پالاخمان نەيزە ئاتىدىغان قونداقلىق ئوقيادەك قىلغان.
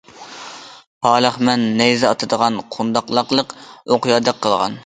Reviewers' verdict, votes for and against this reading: rejected, 0, 2